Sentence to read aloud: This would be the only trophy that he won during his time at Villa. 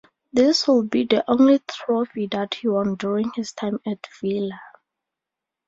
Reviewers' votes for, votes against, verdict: 2, 0, accepted